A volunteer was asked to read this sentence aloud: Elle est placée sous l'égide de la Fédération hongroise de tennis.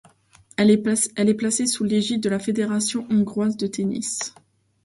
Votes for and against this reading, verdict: 0, 2, rejected